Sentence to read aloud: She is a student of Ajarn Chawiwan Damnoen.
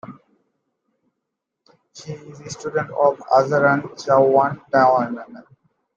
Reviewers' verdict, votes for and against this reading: accepted, 2, 1